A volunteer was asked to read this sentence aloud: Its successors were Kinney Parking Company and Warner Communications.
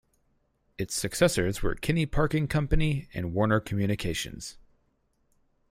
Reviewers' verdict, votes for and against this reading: rejected, 2, 4